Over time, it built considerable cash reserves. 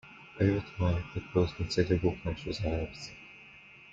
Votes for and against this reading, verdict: 1, 2, rejected